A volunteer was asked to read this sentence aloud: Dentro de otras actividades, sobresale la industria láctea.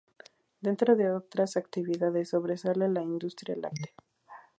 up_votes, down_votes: 0, 2